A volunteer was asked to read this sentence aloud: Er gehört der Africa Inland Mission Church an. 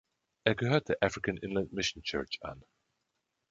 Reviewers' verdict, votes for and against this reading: rejected, 1, 3